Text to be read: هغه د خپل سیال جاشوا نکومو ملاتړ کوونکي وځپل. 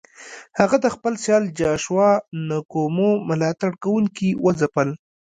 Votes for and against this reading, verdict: 1, 2, rejected